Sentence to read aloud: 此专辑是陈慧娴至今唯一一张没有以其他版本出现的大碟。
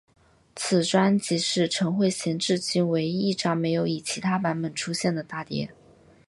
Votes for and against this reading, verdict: 3, 0, accepted